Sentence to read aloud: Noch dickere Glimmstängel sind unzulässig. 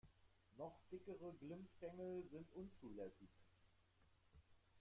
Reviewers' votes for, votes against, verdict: 0, 2, rejected